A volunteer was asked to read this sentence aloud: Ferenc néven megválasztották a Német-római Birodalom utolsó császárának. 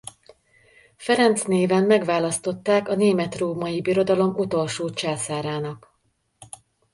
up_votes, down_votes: 2, 0